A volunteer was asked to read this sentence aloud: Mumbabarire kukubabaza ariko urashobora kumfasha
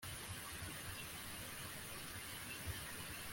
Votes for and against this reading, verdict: 0, 2, rejected